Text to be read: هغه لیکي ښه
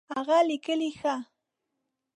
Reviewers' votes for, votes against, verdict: 2, 1, accepted